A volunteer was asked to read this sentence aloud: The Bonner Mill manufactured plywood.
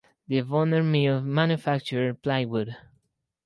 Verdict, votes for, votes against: rejected, 2, 4